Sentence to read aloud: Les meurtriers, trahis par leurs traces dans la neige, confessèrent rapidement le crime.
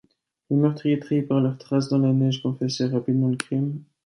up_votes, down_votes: 2, 0